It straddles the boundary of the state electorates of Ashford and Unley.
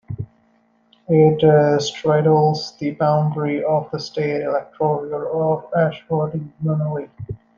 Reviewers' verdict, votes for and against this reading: accepted, 2, 0